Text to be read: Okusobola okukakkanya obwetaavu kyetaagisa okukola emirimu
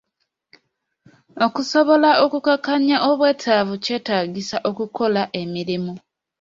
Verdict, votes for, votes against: accepted, 2, 0